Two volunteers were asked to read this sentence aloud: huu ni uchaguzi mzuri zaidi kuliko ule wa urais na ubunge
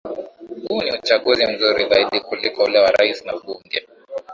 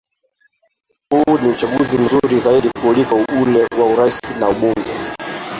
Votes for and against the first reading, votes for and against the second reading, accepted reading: 2, 1, 0, 2, first